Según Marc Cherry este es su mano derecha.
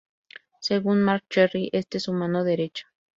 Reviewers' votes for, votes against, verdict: 0, 2, rejected